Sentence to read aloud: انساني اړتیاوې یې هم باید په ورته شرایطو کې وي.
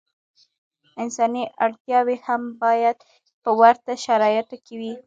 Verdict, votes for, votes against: accepted, 2, 1